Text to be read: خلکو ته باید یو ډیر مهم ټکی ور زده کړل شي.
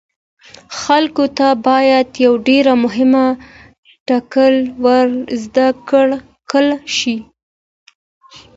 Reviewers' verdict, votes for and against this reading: accepted, 2, 0